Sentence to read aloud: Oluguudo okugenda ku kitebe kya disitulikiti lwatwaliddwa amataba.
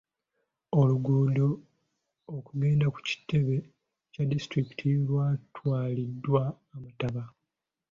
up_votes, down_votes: 2, 1